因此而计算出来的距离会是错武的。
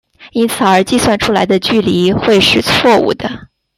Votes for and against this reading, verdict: 2, 1, accepted